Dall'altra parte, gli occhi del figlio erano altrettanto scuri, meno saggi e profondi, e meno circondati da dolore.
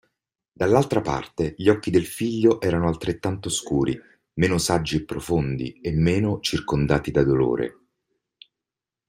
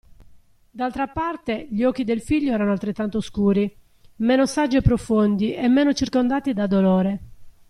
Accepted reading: first